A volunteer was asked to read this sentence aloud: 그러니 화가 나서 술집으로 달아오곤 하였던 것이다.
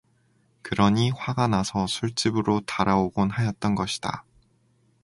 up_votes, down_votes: 2, 0